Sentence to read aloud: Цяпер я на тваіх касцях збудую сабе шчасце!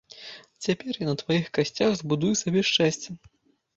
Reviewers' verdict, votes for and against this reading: accepted, 2, 0